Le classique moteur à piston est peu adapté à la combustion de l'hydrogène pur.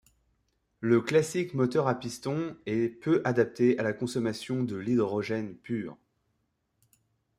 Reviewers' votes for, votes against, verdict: 0, 2, rejected